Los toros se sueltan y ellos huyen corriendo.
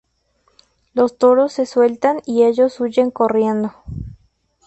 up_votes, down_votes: 2, 2